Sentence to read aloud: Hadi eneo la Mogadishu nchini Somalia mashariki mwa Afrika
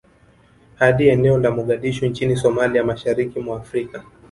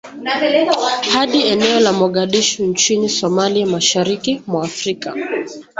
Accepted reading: second